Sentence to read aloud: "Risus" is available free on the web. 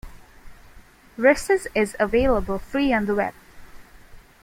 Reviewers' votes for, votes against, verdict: 2, 0, accepted